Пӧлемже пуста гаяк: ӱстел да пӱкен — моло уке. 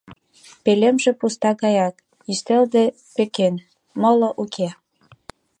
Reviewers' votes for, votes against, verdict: 1, 2, rejected